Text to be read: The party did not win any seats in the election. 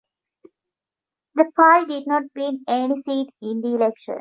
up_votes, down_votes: 0, 2